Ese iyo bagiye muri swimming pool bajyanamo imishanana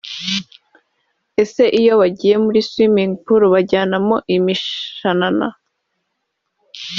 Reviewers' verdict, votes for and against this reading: accepted, 3, 0